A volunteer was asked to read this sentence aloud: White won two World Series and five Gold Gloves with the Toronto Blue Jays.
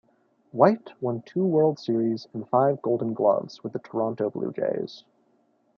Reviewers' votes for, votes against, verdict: 2, 0, accepted